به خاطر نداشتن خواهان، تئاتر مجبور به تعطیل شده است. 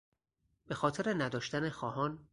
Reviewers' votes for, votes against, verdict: 0, 2, rejected